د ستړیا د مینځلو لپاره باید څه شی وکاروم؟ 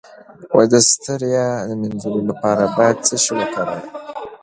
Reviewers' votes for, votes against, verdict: 2, 0, accepted